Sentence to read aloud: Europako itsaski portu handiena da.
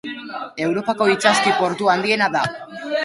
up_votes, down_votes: 0, 2